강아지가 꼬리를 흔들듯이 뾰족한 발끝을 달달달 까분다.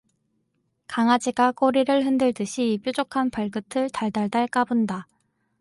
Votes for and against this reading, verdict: 2, 0, accepted